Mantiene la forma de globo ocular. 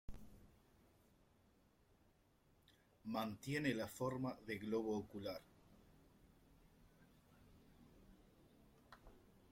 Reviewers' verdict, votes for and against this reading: rejected, 0, 2